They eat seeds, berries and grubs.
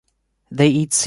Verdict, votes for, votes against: rejected, 0, 2